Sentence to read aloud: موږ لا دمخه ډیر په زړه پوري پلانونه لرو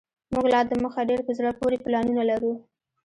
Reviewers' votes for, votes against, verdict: 2, 0, accepted